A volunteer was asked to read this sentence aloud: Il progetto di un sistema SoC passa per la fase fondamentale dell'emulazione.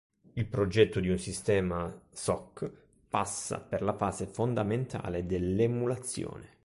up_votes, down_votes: 2, 0